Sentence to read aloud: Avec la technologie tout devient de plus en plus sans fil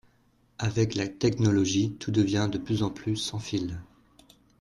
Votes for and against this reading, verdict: 2, 0, accepted